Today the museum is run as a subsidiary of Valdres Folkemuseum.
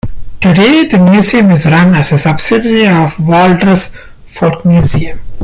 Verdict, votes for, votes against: accepted, 2, 0